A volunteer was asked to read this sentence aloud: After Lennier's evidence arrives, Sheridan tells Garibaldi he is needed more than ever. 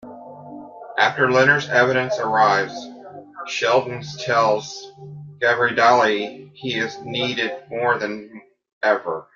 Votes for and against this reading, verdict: 1, 2, rejected